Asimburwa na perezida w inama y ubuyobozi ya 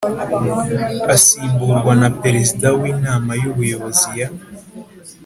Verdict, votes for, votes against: accepted, 3, 0